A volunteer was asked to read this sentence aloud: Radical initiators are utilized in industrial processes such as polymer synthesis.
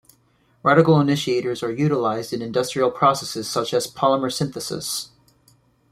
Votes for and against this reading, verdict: 2, 0, accepted